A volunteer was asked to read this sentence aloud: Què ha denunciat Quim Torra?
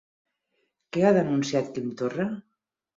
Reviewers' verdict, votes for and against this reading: accepted, 6, 0